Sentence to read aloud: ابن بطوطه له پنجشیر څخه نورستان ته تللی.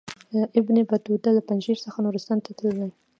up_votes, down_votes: 2, 1